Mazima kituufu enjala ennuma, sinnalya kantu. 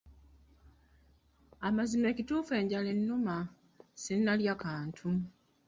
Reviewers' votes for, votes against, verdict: 0, 2, rejected